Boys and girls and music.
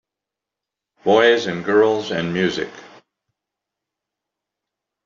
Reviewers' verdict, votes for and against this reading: accepted, 2, 0